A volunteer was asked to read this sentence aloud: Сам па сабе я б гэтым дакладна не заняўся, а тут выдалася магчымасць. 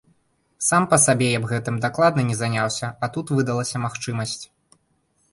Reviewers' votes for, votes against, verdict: 2, 0, accepted